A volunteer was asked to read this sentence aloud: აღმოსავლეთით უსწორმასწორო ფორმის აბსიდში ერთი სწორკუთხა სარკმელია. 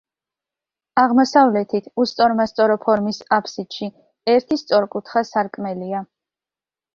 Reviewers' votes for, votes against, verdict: 2, 0, accepted